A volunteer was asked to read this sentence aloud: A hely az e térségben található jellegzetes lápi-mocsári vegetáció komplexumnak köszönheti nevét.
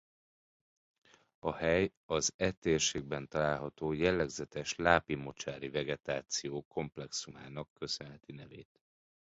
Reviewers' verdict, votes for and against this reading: rejected, 0, 2